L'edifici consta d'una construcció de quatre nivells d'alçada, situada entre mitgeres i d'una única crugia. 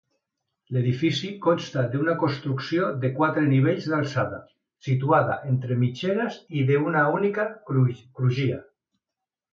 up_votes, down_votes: 0, 2